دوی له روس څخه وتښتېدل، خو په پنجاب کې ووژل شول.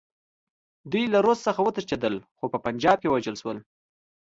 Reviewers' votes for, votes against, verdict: 2, 0, accepted